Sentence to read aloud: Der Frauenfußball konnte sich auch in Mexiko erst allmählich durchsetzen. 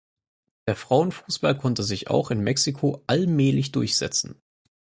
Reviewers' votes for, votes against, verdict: 2, 4, rejected